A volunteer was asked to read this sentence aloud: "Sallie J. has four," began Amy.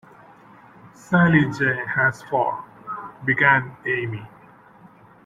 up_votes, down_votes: 2, 0